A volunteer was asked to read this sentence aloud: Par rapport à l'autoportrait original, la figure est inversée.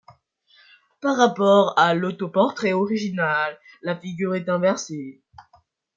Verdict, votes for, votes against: rejected, 0, 2